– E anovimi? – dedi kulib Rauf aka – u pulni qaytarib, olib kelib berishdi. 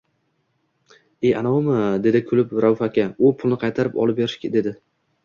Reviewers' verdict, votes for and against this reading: rejected, 1, 2